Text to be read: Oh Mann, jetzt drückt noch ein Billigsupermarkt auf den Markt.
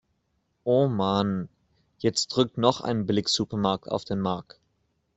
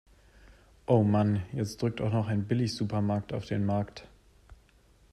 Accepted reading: first